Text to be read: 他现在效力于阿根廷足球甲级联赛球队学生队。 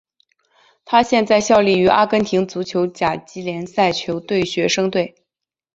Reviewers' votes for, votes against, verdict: 2, 0, accepted